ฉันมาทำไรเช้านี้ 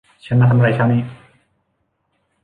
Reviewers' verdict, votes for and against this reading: rejected, 1, 2